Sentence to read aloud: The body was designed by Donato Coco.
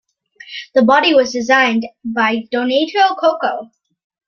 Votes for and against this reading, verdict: 2, 0, accepted